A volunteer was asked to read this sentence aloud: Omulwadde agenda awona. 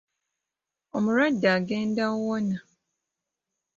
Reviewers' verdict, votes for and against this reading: rejected, 1, 2